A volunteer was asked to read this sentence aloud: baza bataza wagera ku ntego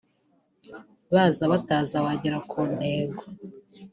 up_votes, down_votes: 2, 0